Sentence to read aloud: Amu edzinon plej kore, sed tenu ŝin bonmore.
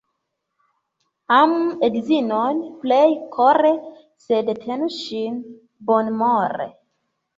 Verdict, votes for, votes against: accepted, 2, 1